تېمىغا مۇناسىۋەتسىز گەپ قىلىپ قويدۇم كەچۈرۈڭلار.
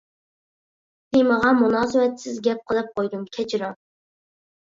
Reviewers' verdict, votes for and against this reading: rejected, 0, 2